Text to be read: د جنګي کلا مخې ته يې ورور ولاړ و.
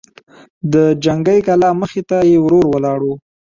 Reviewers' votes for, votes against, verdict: 2, 1, accepted